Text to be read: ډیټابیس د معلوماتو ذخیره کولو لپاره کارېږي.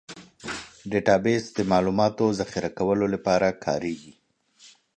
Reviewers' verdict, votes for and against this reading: accepted, 2, 0